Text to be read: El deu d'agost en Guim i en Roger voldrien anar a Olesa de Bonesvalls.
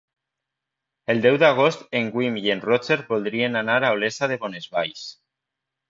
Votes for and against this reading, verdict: 0, 2, rejected